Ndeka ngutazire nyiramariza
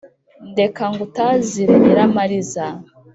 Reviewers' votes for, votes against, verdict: 3, 0, accepted